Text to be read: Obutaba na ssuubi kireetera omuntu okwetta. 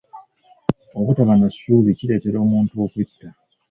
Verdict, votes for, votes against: rejected, 2, 3